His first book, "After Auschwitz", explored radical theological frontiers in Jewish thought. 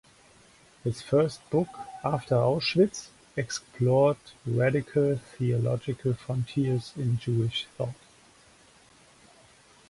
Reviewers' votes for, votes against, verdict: 2, 0, accepted